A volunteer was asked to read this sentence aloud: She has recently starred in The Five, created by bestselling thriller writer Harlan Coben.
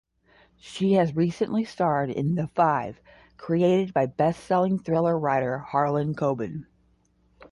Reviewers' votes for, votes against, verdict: 5, 0, accepted